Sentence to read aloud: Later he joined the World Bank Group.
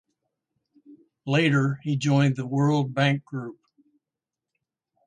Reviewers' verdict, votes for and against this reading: accepted, 2, 0